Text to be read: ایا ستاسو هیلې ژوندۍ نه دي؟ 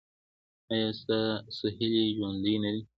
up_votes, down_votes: 2, 0